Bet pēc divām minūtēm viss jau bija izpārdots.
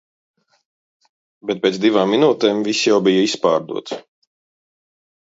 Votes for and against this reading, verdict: 2, 0, accepted